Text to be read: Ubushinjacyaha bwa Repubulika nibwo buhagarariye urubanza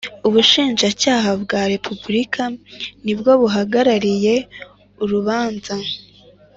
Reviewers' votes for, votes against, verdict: 2, 0, accepted